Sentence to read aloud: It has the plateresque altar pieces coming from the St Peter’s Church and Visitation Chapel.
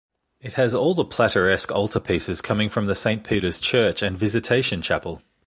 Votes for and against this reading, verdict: 1, 3, rejected